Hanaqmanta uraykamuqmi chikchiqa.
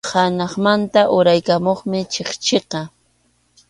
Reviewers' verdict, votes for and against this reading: accepted, 2, 0